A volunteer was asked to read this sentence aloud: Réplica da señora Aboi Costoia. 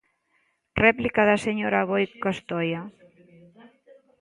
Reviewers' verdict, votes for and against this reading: accepted, 2, 1